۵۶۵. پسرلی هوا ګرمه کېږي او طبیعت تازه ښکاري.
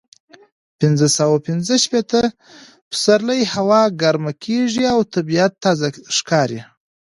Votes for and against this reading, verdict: 0, 2, rejected